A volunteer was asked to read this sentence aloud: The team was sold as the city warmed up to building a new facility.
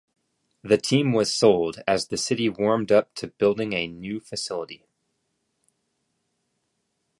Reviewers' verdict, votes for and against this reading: accepted, 2, 0